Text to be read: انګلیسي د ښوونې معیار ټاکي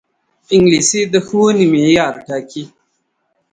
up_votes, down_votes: 3, 0